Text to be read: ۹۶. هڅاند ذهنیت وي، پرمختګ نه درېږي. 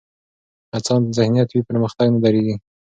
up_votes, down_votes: 0, 2